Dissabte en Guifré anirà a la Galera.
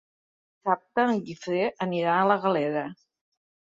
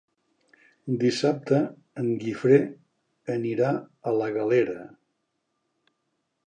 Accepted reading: second